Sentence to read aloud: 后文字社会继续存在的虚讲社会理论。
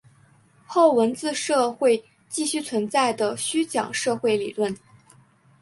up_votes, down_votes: 5, 0